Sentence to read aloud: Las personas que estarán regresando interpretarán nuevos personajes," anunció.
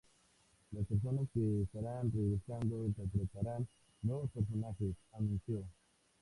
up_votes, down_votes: 2, 0